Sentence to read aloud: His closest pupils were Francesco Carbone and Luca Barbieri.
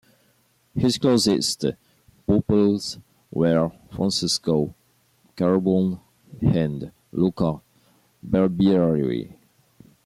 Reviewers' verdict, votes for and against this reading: accepted, 2, 0